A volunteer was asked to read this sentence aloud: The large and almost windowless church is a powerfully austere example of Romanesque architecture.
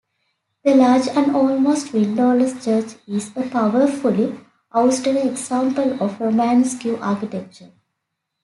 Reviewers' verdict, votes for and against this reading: rejected, 0, 2